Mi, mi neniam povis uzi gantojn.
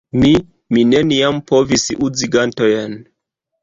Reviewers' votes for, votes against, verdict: 1, 2, rejected